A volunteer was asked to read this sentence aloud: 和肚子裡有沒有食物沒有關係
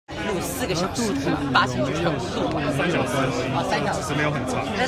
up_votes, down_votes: 0, 2